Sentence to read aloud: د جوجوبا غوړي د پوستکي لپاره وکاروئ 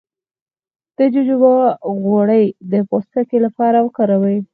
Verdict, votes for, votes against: accepted, 4, 2